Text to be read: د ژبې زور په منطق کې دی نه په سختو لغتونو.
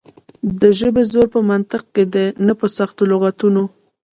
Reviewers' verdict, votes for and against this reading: accepted, 2, 1